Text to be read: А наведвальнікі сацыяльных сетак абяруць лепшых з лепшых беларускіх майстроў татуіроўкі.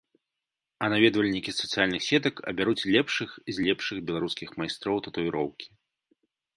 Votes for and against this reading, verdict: 2, 0, accepted